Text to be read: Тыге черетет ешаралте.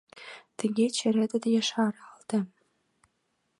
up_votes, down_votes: 2, 0